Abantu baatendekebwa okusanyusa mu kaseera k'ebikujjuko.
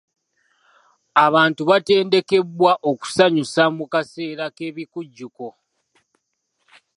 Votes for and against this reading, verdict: 3, 0, accepted